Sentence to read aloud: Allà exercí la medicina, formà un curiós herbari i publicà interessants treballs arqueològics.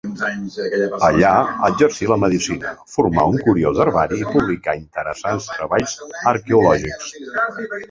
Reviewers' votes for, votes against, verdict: 2, 1, accepted